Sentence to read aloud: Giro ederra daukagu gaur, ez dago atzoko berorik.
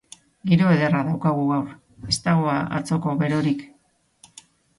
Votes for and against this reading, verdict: 3, 0, accepted